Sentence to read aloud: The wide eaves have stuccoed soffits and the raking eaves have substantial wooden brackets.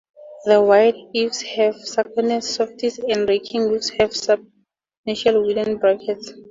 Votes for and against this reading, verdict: 2, 0, accepted